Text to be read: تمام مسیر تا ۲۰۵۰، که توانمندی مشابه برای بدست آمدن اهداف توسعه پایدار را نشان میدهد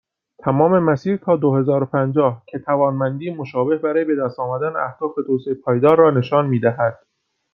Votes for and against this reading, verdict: 0, 2, rejected